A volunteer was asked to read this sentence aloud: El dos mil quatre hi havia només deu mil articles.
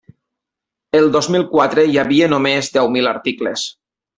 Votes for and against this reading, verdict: 3, 0, accepted